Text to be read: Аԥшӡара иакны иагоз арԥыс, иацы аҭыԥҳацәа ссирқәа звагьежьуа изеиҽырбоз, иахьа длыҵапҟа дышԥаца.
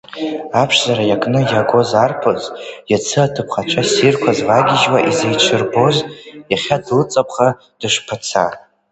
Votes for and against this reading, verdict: 1, 2, rejected